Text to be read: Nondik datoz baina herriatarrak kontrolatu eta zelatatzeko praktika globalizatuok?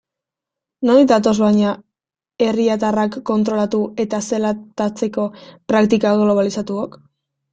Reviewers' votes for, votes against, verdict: 0, 2, rejected